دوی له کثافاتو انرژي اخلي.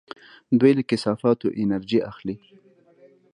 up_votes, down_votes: 1, 2